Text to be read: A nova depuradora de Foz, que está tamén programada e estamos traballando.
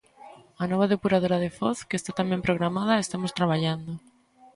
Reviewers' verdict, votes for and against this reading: rejected, 1, 2